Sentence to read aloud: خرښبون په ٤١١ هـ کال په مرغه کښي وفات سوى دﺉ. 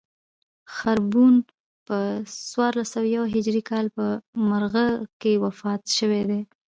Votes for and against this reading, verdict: 0, 2, rejected